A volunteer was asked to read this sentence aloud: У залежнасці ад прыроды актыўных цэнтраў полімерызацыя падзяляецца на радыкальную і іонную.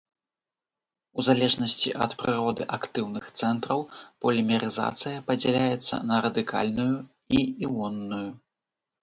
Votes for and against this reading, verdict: 2, 0, accepted